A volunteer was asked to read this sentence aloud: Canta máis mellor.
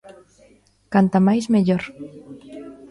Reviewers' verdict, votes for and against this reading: accepted, 2, 0